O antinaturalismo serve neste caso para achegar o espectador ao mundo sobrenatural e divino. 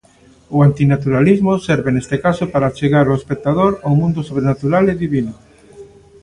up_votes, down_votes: 2, 0